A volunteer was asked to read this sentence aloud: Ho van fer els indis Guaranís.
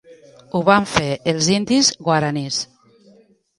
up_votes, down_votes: 1, 2